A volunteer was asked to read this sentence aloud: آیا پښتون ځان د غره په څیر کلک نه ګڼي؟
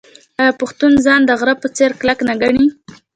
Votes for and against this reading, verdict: 2, 0, accepted